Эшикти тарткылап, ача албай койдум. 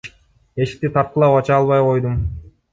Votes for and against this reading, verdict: 2, 1, accepted